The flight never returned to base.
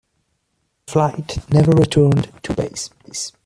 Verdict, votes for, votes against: accepted, 2, 0